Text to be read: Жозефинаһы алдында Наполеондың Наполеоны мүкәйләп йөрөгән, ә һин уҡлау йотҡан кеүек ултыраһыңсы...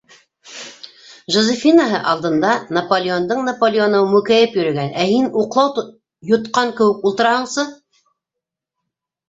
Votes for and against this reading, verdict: 0, 2, rejected